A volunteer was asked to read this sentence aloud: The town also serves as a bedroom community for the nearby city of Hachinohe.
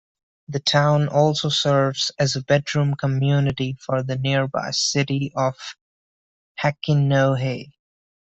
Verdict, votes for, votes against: accepted, 2, 0